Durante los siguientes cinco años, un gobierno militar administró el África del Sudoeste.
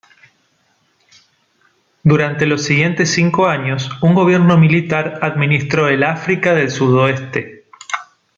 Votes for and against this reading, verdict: 2, 0, accepted